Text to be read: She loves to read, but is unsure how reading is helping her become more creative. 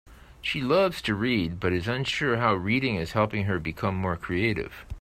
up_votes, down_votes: 3, 0